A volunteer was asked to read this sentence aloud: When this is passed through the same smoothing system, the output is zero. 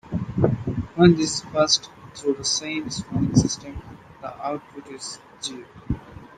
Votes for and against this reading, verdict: 2, 0, accepted